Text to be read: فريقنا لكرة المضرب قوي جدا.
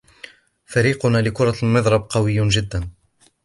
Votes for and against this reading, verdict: 2, 0, accepted